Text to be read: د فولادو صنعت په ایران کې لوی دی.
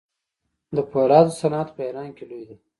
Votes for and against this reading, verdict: 1, 2, rejected